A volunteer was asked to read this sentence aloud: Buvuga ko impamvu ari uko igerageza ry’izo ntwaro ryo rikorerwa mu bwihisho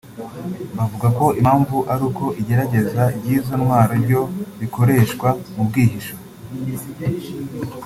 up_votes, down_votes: 2, 0